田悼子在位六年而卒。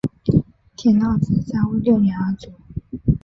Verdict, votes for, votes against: rejected, 2, 3